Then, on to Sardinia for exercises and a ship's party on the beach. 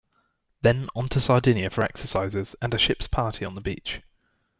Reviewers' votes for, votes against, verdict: 1, 2, rejected